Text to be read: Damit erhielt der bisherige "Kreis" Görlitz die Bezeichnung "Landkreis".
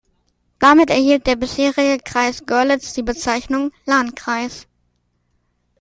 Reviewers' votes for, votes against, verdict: 2, 0, accepted